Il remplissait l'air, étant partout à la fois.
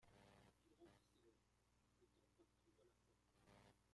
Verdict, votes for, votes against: rejected, 0, 2